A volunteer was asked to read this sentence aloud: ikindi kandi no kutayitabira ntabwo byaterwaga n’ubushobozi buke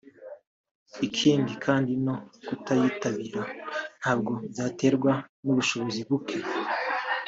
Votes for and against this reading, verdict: 2, 1, accepted